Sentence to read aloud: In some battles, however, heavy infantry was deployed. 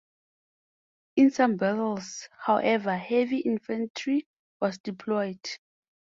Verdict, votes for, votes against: accepted, 4, 0